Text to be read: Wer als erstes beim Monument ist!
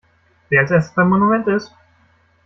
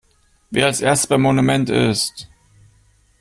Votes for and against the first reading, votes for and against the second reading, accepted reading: 1, 2, 2, 1, second